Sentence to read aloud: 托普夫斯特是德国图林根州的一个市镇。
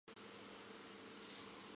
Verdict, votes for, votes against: rejected, 0, 4